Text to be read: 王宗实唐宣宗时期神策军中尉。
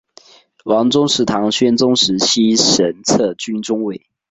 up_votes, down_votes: 2, 0